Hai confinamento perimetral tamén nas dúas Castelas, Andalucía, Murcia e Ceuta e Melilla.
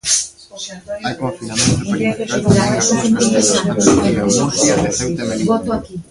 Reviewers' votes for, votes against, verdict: 0, 2, rejected